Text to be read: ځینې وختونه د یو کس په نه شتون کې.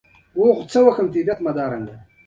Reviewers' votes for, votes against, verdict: 0, 2, rejected